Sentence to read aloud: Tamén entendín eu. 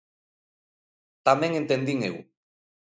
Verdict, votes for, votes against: accepted, 2, 0